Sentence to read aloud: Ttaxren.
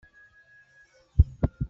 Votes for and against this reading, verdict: 1, 2, rejected